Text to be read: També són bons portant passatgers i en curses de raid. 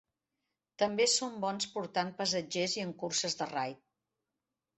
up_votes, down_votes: 2, 1